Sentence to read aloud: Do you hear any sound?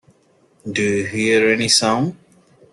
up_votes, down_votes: 2, 0